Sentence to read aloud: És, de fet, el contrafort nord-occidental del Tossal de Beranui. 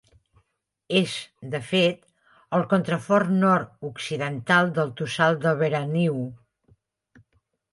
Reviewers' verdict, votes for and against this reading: rejected, 1, 2